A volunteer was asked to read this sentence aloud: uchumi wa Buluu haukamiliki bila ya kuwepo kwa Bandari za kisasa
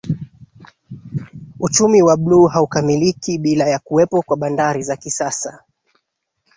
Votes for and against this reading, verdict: 3, 0, accepted